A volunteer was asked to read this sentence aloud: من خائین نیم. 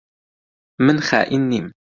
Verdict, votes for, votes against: accepted, 2, 0